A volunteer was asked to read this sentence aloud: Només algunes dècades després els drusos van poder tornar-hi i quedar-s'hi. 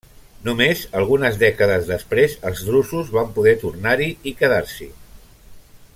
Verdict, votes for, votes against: rejected, 1, 2